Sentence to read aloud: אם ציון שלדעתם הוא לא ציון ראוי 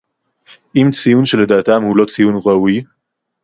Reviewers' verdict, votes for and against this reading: accepted, 2, 0